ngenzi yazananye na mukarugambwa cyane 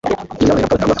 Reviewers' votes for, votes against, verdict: 0, 2, rejected